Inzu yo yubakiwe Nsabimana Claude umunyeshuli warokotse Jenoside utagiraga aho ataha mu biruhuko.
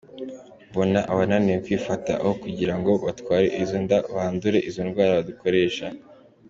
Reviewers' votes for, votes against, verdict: 0, 2, rejected